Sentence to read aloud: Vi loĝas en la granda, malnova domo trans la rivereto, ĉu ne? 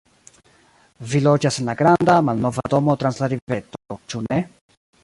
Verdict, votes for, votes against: rejected, 1, 2